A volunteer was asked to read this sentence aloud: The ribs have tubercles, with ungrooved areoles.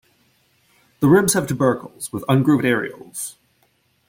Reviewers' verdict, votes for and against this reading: rejected, 1, 2